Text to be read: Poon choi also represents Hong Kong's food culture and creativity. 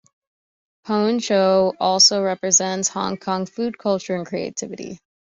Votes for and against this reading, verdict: 2, 0, accepted